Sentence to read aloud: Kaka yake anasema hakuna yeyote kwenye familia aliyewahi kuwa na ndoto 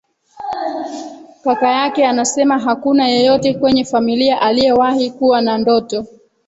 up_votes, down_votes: 0, 2